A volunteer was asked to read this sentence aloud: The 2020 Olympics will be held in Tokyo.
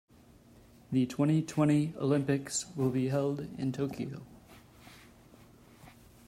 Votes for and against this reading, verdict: 0, 2, rejected